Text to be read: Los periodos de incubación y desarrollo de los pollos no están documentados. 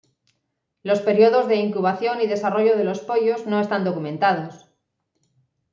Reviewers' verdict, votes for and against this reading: accepted, 2, 0